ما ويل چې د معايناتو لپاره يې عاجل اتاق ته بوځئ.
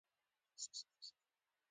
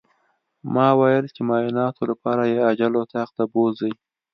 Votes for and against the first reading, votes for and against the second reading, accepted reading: 1, 2, 2, 0, second